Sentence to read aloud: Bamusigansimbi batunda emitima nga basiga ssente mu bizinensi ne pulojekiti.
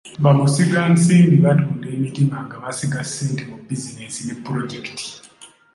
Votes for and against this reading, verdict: 3, 0, accepted